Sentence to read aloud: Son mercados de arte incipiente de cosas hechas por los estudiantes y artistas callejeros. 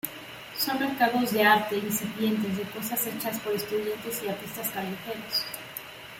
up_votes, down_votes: 1, 2